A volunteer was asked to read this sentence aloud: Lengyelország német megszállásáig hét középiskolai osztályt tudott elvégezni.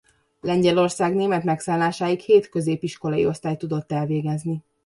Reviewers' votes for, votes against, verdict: 2, 0, accepted